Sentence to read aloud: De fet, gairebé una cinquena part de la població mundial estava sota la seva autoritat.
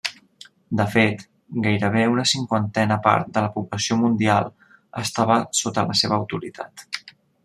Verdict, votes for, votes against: rejected, 0, 2